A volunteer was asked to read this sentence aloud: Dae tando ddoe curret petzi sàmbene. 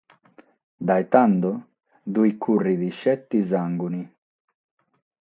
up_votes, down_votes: 3, 3